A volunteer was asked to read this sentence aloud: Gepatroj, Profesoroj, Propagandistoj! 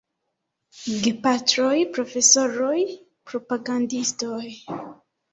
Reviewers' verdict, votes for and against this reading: accepted, 2, 1